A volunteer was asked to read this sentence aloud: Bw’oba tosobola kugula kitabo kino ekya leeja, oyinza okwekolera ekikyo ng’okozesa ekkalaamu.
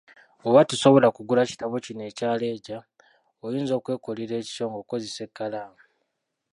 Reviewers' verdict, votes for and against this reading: rejected, 1, 2